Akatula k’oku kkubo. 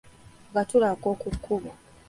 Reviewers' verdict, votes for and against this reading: accepted, 2, 0